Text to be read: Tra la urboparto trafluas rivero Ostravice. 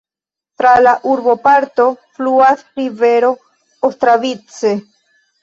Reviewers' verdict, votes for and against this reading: rejected, 0, 2